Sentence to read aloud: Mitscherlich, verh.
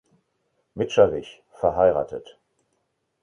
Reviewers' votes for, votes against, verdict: 2, 0, accepted